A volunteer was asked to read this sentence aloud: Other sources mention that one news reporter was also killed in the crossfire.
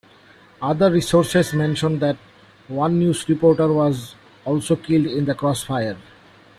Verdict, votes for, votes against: rejected, 0, 2